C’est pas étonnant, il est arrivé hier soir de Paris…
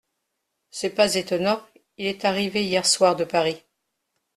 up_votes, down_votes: 2, 0